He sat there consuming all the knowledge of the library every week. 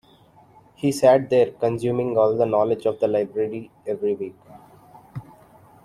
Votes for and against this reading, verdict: 2, 0, accepted